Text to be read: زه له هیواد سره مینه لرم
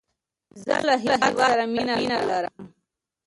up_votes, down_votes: 1, 2